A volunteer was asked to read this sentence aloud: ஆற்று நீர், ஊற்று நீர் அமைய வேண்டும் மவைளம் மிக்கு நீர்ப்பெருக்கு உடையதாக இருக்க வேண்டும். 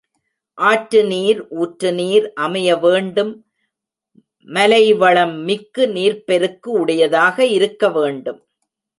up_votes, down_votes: 1, 2